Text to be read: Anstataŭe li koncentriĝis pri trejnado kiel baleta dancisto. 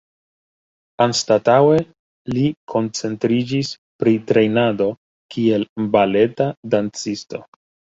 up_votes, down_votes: 1, 2